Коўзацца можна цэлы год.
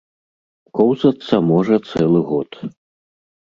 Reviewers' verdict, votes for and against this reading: rejected, 1, 3